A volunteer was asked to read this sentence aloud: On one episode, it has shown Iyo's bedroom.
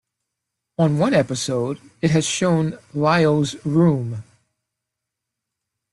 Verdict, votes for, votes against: rejected, 1, 3